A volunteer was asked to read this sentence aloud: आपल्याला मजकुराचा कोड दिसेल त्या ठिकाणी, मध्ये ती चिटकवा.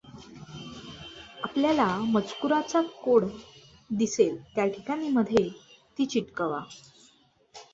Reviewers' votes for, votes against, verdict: 2, 0, accepted